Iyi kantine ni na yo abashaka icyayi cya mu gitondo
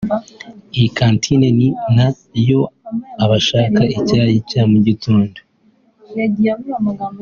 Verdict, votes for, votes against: accepted, 2, 0